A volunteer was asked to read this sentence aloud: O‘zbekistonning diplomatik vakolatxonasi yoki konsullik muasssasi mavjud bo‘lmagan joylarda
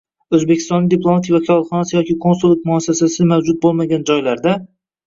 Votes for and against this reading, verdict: 1, 2, rejected